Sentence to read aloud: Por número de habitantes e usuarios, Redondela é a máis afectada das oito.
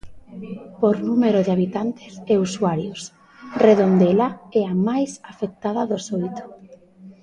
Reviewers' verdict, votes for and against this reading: rejected, 0, 2